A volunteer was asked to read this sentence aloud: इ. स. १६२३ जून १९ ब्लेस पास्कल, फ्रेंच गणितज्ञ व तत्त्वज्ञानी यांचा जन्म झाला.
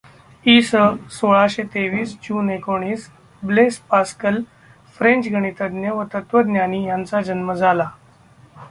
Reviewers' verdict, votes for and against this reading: rejected, 0, 2